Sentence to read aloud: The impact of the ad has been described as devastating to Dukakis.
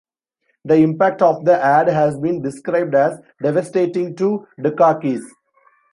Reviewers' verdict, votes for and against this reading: accepted, 2, 0